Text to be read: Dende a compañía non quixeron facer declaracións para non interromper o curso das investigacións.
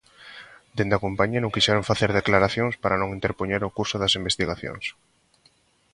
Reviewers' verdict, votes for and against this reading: rejected, 0, 2